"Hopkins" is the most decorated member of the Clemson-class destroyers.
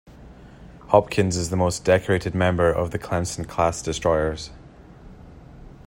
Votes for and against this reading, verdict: 2, 0, accepted